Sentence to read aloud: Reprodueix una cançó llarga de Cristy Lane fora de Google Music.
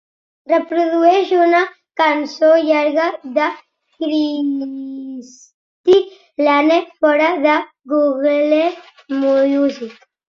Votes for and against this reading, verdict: 2, 1, accepted